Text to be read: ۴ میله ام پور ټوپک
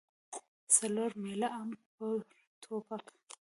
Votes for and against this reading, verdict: 0, 2, rejected